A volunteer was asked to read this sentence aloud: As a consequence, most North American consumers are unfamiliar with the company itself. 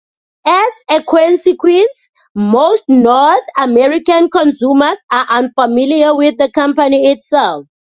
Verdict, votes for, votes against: accepted, 2, 0